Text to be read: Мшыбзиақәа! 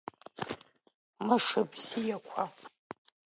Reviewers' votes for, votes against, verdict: 0, 2, rejected